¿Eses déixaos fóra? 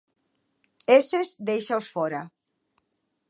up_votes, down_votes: 2, 1